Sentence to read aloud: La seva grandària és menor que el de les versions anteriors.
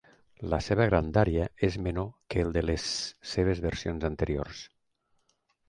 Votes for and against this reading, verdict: 1, 2, rejected